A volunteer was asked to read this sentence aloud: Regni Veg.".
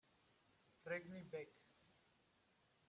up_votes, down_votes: 1, 2